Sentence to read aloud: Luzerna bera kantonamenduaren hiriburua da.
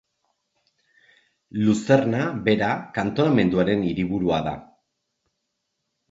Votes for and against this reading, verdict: 2, 0, accepted